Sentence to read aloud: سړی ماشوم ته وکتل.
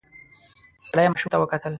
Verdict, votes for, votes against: rejected, 0, 2